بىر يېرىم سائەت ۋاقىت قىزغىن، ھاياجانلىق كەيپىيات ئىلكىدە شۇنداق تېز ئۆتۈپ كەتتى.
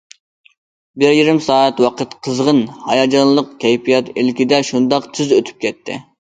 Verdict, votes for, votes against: accepted, 2, 0